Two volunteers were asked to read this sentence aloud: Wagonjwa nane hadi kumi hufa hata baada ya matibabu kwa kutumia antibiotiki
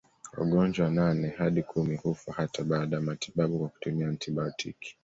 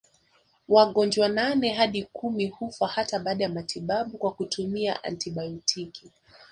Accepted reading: first